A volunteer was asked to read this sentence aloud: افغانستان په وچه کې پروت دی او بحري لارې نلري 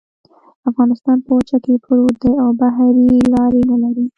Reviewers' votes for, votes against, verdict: 1, 2, rejected